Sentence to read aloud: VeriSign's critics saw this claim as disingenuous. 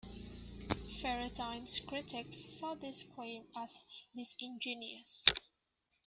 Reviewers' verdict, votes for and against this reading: rejected, 1, 2